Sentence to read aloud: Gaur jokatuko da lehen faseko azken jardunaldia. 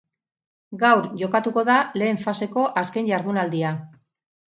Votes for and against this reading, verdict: 2, 2, rejected